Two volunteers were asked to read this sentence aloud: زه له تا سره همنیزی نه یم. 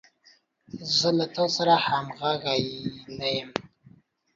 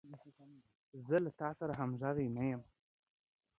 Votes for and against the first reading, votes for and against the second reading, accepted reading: 2, 1, 1, 2, first